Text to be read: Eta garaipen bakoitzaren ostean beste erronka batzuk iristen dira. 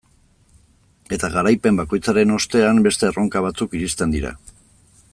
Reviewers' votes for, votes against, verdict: 2, 0, accepted